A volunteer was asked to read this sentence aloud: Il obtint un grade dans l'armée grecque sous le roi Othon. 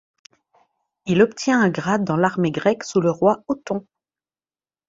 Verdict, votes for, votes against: rejected, 0, 2